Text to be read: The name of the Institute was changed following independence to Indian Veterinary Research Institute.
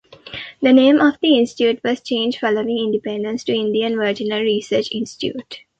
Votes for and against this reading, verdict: 0, 2, rejected